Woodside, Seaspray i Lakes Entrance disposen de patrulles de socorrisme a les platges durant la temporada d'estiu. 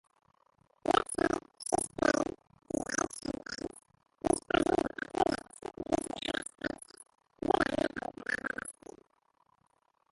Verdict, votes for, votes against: rejected, 0, 3